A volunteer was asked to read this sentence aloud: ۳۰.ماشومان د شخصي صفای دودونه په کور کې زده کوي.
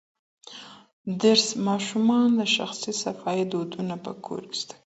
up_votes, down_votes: 0, 2